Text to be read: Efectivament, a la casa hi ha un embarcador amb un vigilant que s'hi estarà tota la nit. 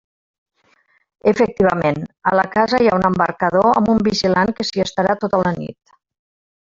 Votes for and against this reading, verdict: 1, 2, rejected